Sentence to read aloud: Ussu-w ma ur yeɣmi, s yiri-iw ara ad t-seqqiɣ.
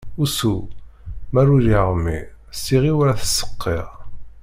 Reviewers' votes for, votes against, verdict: 1, 2, rejected